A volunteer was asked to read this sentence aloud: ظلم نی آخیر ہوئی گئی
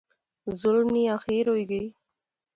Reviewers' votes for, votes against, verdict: 2, 0, accepted